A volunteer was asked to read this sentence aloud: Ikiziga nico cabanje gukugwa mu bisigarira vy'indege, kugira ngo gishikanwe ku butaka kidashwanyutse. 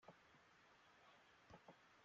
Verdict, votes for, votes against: rejected, 0, 2